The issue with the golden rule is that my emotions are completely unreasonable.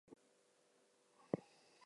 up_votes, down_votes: 0, 2